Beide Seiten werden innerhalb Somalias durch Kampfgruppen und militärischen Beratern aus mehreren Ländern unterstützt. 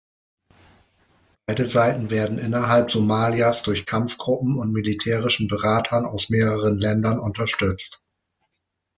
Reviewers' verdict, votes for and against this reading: accepted, 2, 0